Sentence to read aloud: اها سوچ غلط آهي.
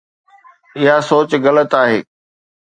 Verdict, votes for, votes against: accepted, 3, 0